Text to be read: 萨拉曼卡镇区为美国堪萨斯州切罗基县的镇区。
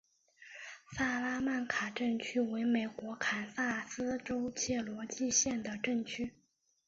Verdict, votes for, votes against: accepted, 2, 1